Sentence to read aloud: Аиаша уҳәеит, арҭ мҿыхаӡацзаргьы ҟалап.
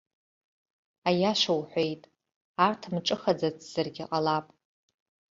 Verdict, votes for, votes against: accepted, 2, 0